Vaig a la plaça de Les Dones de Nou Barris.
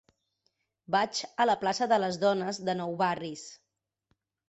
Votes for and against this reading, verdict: 3, 0, accepted